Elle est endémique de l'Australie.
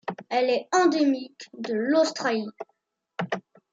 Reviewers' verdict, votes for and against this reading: accepted, 2, 1